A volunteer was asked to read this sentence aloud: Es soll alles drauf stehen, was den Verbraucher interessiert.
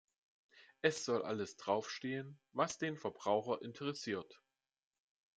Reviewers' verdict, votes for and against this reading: accepted, 2, 0